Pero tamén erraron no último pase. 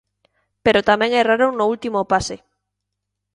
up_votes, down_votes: 2, 0